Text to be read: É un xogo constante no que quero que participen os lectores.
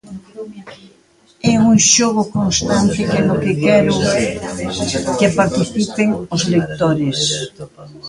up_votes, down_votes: 0, 4